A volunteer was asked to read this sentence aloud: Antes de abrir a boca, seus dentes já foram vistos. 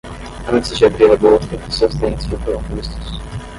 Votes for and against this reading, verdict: 5, 10, rejected